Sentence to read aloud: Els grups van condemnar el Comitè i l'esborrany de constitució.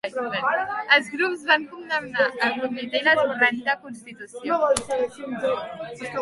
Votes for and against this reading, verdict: 0, 2, rejected